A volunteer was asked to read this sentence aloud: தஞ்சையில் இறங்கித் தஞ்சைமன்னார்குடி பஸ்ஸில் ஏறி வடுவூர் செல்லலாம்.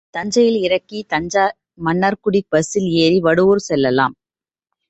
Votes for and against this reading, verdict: 2, 1, accepted